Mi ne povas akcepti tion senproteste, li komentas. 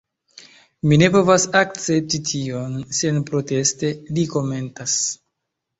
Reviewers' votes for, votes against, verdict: 0, 2, rejected